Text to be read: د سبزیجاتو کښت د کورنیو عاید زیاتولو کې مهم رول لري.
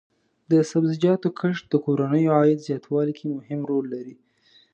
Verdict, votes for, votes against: rejected, 1, 2